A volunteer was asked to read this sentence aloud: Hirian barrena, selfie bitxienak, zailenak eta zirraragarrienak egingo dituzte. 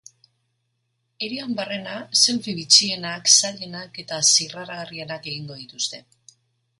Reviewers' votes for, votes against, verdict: 2, 0, accepted